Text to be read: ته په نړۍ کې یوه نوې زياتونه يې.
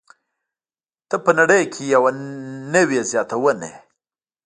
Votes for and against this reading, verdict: 0, 2, rejected